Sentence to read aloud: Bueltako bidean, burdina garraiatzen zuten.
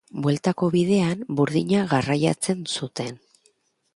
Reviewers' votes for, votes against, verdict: 3, 0, accepted